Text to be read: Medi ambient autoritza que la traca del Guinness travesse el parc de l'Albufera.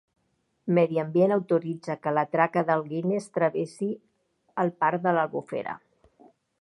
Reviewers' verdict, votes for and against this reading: rejected, 2, 3